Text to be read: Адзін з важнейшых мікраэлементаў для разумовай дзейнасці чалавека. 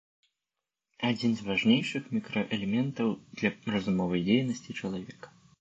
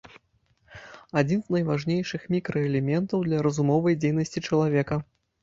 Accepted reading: first